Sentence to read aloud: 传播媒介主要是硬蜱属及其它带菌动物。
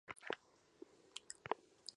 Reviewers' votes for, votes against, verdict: 0, 5, rejected